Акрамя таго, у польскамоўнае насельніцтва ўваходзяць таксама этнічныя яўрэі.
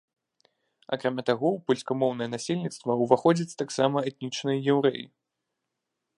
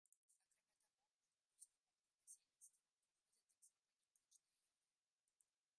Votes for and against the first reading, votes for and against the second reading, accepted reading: 2, 0, 0, 2, first